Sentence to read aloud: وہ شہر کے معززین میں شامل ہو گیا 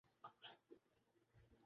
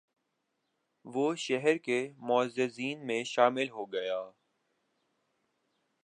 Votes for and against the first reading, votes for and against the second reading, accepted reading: 0, 3, 2, 0, second